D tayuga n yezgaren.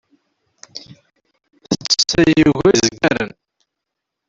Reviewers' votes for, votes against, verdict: 0, 2, rejected